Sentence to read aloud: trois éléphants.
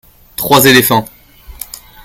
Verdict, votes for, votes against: accepted, 2, 0